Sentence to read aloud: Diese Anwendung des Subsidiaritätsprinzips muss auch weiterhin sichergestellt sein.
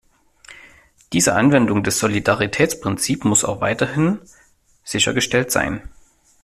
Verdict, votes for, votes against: rejected, 0, 2